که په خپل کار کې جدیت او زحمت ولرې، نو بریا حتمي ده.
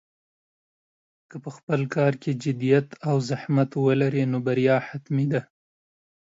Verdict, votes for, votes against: accepted, 2, 0